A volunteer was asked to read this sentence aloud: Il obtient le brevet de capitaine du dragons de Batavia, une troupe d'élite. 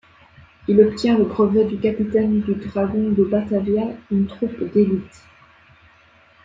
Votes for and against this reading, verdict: 1, 2, rejected